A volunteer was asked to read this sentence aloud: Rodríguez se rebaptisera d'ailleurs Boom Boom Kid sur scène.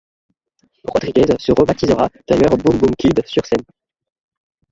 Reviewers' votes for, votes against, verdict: 1, 2, rejected